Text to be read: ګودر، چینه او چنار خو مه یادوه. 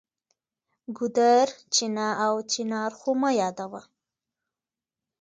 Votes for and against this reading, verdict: 2, 0, accepted